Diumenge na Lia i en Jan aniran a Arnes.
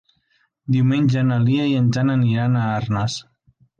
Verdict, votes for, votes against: accepted, 4, 0